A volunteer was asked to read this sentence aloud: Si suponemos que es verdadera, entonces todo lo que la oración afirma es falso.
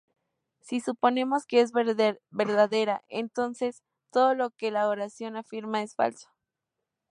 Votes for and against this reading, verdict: 2, 0, accepted